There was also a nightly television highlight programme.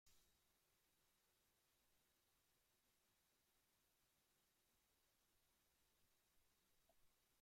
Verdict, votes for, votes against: rejected, 0, 2